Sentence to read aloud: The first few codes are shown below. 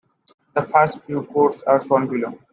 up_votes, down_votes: 2, 1